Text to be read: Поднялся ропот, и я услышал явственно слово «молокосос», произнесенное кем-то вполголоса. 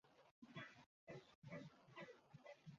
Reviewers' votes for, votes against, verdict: 0, 2, rejected